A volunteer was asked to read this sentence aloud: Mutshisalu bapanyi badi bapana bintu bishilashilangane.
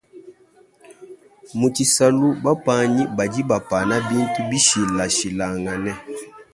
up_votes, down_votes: 0, 2